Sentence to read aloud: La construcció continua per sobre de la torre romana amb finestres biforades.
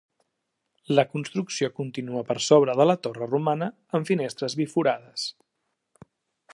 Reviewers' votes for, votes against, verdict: 2, 0, accepted